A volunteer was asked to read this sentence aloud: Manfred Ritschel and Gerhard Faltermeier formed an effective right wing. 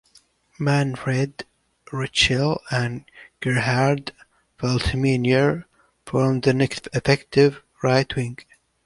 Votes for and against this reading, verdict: 1, 2, rejected